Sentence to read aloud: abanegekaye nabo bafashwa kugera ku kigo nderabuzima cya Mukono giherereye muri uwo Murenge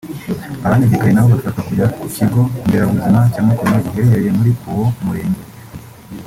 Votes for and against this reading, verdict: 0, 2, rejected